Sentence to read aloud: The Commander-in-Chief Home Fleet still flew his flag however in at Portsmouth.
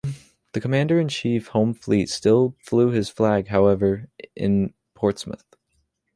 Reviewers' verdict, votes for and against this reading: rejected, 1, 2